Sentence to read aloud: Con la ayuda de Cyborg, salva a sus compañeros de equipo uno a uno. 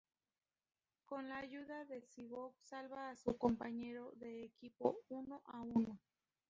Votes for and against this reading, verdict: 0, 2, rejected